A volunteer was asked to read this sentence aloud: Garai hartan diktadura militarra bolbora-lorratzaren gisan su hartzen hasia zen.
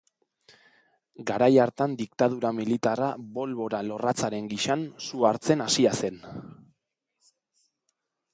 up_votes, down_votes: 2, 0